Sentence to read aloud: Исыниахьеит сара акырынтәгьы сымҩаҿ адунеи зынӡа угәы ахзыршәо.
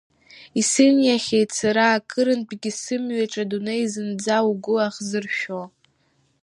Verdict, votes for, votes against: rejected, 0, 2